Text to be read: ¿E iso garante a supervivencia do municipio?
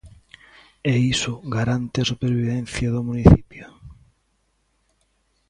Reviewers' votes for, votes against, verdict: 3, 0, accepted